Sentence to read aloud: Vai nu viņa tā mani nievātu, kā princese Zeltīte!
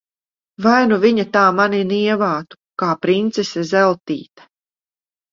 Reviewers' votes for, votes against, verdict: 2, 0, accepted